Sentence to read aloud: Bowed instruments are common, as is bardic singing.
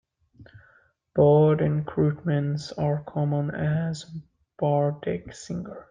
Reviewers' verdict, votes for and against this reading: rejected, 1, 2